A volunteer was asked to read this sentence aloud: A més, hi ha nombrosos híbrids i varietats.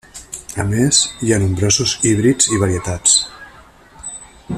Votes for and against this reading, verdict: 3, 1, accepted